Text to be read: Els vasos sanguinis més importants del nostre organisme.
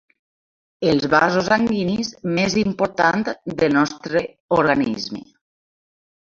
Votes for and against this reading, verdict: 0, 2, rejected